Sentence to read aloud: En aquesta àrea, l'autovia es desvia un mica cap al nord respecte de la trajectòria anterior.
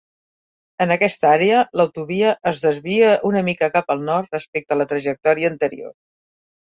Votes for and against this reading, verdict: 2, 3, rejected